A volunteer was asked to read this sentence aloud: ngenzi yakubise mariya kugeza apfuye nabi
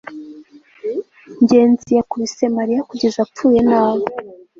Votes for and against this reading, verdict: 2, 0, accepted